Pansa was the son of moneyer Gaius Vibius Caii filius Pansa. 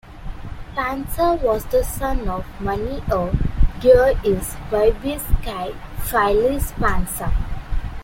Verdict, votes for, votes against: rejected, 0, 2